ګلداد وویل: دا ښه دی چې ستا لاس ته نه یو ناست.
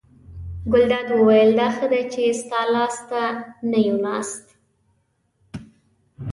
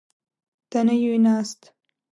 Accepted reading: first